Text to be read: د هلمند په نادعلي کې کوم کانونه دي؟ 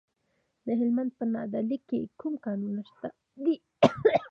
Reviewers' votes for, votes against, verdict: 0, 2, rejected